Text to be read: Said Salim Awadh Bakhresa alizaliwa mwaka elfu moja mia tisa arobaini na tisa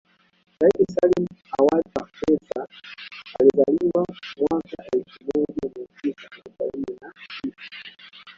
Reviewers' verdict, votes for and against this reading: rejected, 0, 2